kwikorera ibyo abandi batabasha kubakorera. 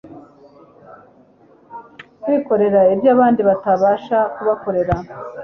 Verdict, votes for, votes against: accepted, 2, 0